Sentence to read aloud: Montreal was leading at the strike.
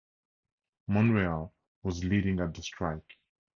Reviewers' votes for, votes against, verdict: 0, 2, rejected